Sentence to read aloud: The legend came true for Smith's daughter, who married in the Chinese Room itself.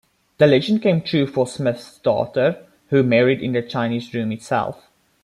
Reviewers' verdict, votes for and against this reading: accepted, 2, 0